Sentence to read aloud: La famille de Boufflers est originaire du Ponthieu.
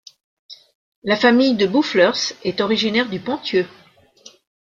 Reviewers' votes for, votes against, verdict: 2, 0, accepted